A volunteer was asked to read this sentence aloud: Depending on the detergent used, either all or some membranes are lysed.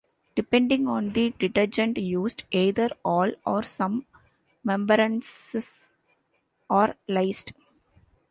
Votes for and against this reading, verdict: 0, 2, rejected